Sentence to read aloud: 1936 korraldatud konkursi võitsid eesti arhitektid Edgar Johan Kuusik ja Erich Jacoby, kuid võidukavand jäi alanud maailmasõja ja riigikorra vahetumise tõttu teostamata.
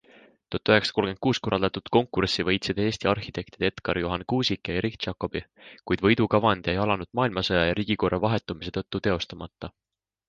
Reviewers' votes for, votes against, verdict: 0, 2, rejected